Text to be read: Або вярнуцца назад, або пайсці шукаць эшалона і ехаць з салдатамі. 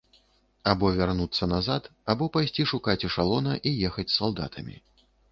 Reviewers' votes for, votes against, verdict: 2, 0, accepted